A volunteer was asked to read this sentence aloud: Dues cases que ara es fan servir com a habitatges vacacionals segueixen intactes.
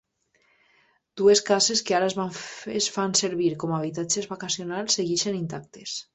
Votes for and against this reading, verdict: 2, 0, accepted